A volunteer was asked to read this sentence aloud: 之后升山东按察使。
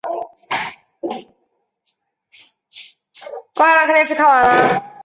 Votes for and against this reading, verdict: 0, 3, rejected